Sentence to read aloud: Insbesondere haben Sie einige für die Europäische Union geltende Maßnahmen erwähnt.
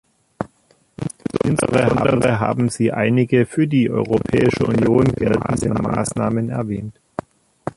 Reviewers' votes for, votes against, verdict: 0, 2, rejected